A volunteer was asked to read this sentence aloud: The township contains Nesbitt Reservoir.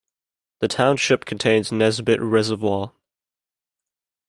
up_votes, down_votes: 2, 0